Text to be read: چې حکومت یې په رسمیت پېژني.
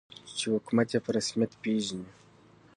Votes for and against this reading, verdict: 2, 0, accepted